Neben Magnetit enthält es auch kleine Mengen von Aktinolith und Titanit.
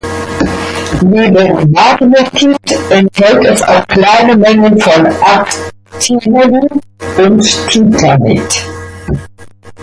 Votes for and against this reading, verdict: 0, 2, rejected